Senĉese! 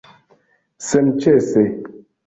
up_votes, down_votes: 2, 0